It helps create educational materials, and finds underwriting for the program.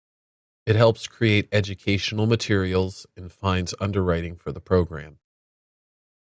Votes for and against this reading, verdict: 2, 0, accepted